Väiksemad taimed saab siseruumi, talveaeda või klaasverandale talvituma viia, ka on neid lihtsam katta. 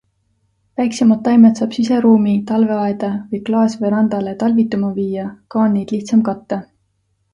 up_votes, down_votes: 2, 0